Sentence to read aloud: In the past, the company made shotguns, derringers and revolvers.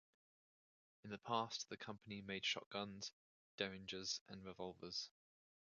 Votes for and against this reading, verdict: 0, 2, rejected